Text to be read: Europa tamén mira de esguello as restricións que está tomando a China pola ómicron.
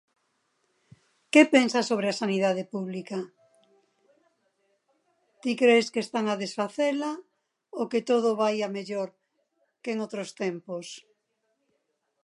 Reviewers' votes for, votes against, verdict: 1, 2, rejected